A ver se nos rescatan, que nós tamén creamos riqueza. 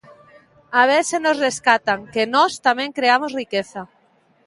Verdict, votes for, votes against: accepted, 2, 0